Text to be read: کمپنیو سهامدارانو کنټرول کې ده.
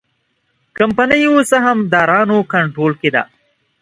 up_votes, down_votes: 2, 0